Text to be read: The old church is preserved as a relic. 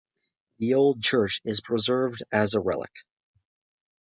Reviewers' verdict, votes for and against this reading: accepted, 2, 0